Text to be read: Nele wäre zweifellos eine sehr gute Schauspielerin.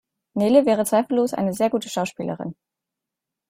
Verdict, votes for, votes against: rejected, 1, 2